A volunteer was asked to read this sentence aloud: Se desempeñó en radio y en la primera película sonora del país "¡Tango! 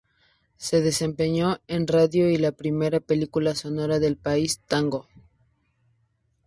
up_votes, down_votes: 0, 2